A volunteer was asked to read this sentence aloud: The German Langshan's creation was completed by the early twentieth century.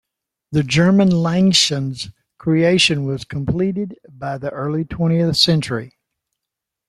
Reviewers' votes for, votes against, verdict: 2, 0, accepted